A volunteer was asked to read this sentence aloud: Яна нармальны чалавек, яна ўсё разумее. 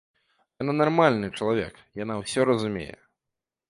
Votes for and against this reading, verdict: 2, 0, accepted